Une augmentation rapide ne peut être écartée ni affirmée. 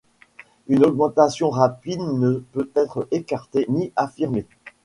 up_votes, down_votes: 2, 0